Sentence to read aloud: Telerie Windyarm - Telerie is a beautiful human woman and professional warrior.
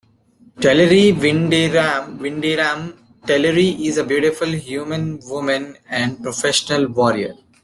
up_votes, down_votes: 2, 0